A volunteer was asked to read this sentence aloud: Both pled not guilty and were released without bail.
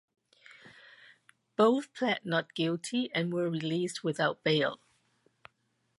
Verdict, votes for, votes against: accepted, 2, 0